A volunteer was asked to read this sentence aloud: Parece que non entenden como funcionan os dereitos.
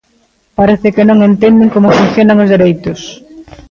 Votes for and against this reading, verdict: 2, 1, accepted